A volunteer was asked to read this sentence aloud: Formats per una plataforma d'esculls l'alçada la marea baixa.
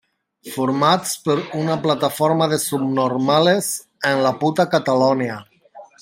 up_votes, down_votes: 0, 2